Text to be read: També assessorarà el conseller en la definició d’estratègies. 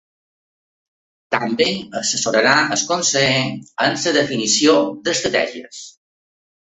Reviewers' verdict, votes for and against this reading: rejected, 0, 2